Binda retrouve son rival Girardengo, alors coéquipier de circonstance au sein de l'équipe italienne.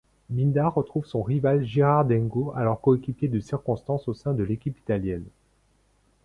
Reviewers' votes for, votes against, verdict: 0, 2, rejected